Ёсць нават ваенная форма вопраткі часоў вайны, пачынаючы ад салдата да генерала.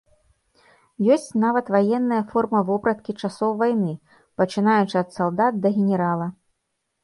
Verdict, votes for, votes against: rejected, 1, 2